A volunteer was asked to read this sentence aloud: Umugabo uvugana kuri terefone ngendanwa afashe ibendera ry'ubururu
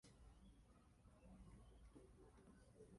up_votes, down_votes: 0, 2